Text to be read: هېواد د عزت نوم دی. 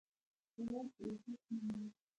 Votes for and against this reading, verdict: 0, 2, rejected